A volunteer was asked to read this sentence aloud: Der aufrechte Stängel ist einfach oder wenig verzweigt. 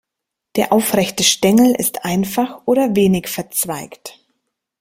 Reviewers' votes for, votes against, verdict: 0, 2, rejected